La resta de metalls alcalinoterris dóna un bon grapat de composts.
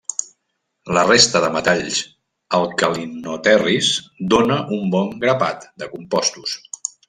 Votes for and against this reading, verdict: 0, 2, rejected